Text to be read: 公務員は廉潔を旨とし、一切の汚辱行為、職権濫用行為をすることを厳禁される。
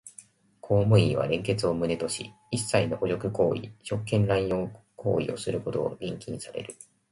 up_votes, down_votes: 1, 2